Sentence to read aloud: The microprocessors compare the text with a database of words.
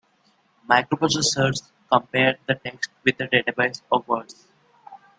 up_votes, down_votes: 2, 1